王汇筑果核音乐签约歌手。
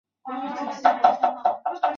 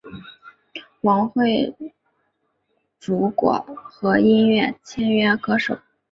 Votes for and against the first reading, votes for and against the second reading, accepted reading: 0, 2, 2, 0, second